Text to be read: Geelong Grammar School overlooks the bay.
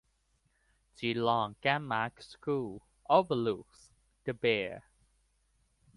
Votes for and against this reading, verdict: 1, 2, rejected